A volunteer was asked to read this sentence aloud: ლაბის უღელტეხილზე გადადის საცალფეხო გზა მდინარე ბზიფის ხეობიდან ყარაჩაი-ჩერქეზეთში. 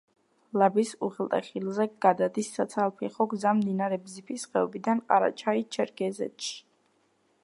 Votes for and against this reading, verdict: 1, 2, rejected